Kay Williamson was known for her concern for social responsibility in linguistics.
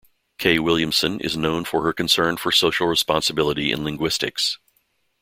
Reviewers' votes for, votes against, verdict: 0, 2, rejected